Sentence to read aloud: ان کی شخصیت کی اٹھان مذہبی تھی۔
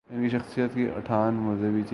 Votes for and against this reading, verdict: 0, 2, rejected